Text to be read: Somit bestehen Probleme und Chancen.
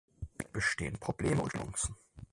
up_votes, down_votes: 0, 4